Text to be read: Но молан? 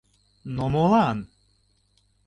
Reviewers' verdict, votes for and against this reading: accepted, 2, 0